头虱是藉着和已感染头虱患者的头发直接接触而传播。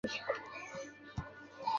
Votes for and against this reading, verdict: 0, 3, rejected